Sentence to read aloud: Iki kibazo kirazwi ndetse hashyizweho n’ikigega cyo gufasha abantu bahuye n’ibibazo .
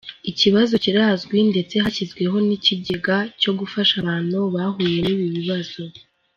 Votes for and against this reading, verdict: 3, 2, accepted